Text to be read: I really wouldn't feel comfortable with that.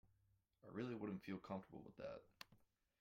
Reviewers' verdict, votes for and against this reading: rejected, 0, 2